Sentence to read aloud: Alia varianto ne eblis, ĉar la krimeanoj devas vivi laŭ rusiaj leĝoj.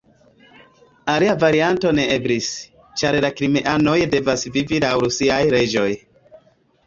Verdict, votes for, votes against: accepted, 2, 1